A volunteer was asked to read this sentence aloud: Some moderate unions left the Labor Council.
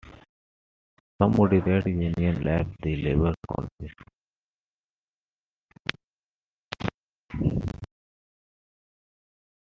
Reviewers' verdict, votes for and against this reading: rejected, 1, 2